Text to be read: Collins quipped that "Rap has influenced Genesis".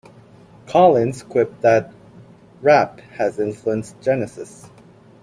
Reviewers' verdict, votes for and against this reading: rejected, 0, 2